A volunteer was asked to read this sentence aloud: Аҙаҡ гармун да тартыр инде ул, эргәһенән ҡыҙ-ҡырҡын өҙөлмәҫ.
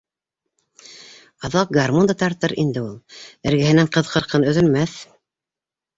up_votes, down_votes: 2, 0